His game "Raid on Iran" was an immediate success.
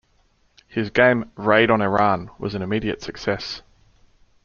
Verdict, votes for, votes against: accepted, 2, 0